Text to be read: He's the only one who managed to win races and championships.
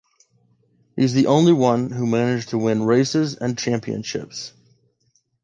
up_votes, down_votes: 2, 0